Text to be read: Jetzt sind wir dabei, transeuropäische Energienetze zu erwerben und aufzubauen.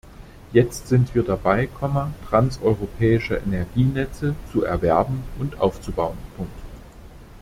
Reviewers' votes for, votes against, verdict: 1, 2, rejected